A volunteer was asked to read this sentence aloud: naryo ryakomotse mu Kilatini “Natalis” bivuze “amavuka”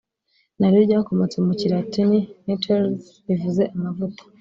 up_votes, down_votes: 2, 1